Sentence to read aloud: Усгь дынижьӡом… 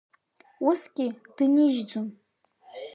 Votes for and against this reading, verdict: 0, 2, rejected